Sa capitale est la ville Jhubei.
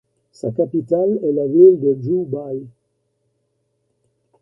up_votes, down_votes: 0, 2